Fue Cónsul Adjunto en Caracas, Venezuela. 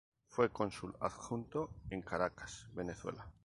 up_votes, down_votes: 2, 0